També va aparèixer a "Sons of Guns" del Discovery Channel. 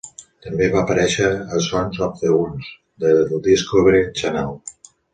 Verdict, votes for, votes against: rejected, 1, 2